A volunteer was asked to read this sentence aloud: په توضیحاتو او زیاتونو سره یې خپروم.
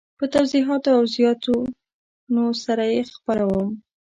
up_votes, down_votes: 2, 0